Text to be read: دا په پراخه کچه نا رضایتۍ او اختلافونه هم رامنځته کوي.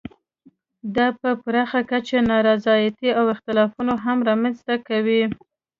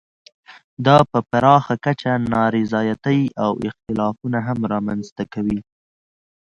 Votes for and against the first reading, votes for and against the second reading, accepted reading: 1, 2, 2, 0, second